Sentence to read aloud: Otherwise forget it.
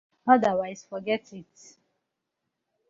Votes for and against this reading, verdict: 2, 0, accepted